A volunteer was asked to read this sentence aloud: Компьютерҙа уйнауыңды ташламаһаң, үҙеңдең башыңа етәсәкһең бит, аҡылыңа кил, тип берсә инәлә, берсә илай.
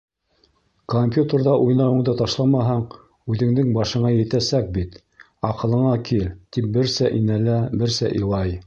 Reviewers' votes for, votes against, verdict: 0, 2, rejected